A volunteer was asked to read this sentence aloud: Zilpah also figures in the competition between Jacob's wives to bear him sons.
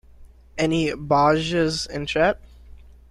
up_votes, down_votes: 0, 2